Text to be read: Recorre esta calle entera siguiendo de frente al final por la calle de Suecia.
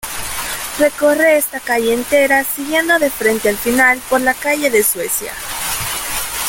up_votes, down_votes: 2, 0